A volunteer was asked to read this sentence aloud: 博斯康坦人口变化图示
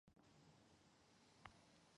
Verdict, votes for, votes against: rejected, 0, 3